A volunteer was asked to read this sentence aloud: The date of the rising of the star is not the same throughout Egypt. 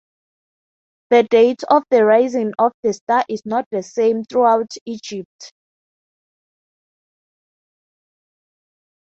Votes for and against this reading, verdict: 6, 0, accepted